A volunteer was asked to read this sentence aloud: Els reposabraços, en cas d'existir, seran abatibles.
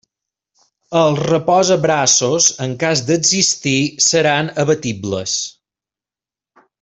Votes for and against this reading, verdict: 2, 0, accepted